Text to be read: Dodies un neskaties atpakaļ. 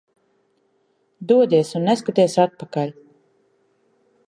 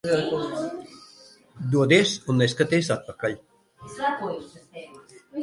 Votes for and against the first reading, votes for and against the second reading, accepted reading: 2, 0, 0, 2, first